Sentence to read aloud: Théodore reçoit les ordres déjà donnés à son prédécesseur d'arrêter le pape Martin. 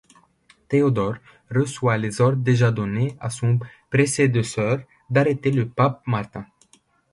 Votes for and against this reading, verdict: 1, 2, rejected